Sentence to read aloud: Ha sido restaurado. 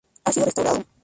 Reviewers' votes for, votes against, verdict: 0, 6, rejected